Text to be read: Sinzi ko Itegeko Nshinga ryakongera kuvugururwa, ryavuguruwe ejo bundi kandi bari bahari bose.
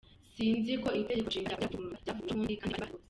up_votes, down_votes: 0, 2